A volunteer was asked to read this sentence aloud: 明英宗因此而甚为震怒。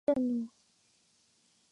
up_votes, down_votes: 0, 3